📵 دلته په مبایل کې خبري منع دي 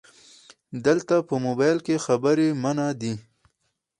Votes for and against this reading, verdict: 4, 0, accepted